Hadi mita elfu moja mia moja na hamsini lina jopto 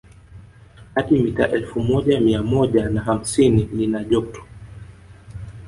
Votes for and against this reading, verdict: 2, 1, accepted